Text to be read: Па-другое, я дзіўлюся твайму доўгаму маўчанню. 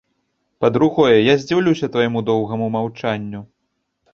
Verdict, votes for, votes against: rejected, 0, 2